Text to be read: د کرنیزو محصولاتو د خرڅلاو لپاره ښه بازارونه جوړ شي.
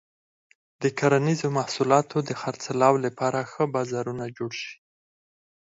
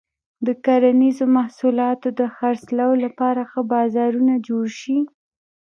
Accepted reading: second